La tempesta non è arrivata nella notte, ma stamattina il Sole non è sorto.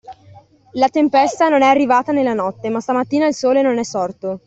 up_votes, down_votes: 2, 0